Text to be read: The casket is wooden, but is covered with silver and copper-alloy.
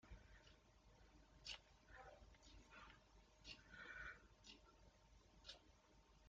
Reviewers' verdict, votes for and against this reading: rejected, 0, 2